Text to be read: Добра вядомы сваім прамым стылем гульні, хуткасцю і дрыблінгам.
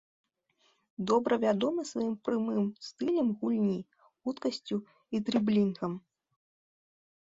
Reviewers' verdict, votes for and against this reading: accepted, 3, 0